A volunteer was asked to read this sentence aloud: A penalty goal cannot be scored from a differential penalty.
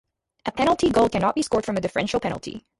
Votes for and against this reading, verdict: 2, 2, rejected